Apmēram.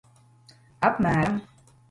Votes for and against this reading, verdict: 2, 1, accepted